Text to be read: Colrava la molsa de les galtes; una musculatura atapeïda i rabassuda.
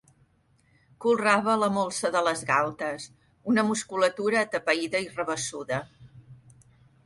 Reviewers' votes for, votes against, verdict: 2, 0, accepted